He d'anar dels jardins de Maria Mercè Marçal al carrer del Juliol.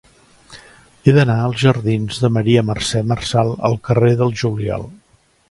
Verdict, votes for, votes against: rejected, 0, 2